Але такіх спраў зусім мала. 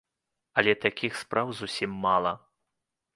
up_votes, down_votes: 2, 0